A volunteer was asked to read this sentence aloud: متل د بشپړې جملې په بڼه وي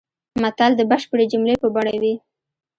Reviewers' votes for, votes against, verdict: 2, 1, accepted